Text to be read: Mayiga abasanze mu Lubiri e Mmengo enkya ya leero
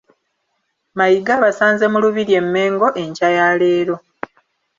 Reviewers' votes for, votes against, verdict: 2, 0, accepted